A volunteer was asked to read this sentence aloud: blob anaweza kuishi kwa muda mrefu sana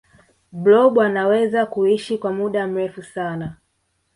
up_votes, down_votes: 0, 2